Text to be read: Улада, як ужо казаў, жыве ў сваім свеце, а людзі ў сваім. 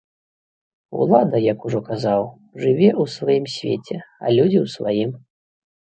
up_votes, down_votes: 2, 0